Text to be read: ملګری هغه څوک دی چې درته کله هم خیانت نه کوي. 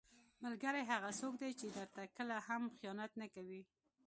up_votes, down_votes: 2, 0